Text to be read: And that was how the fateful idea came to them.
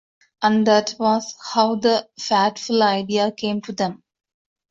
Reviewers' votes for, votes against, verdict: 0, 2, rejected